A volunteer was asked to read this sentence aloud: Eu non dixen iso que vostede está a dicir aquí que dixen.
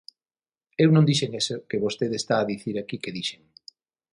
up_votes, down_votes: 3, 6